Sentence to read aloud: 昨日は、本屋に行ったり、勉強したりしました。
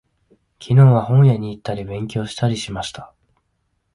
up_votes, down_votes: 2, 0